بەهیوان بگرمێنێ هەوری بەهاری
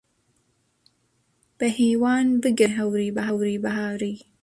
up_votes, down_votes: 0, 2